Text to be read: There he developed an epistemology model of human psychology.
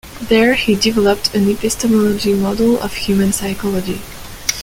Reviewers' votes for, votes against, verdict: 2, 0, accepted